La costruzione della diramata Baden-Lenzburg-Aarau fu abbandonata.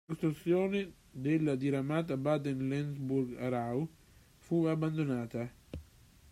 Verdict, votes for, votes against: rejected, 1, 2